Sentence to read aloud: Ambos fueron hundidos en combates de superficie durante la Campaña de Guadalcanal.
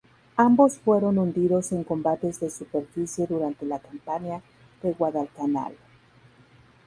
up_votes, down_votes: 2, 0